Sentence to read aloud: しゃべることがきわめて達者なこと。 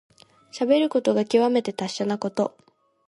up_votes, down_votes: 2, 0